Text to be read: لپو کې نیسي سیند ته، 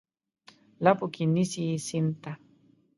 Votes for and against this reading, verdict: 1, 2, rejected